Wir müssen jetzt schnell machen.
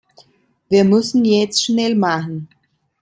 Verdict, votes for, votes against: accepted, 2, 0